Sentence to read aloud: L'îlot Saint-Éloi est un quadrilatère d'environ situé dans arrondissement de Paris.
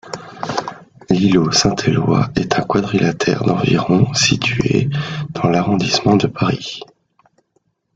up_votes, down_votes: 0, 2